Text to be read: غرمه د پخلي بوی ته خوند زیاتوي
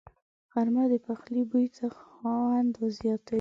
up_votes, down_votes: 1, 2